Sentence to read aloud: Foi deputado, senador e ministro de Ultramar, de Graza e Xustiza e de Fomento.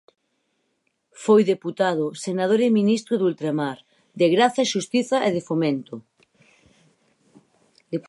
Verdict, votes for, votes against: rejected, 0, 4